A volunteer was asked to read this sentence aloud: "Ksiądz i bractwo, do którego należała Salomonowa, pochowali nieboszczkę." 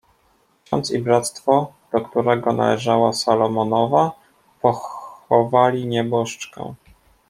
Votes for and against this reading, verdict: 2, 0, accepted